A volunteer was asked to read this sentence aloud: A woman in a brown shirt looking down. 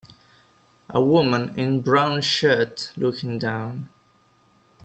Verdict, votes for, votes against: rejected, 0, 3